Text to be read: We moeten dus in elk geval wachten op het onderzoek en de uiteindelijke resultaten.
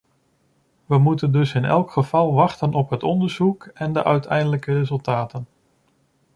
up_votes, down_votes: 0, 2